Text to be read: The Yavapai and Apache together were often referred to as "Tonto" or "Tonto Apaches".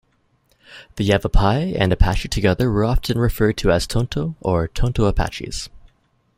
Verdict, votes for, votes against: accepted, 2, 0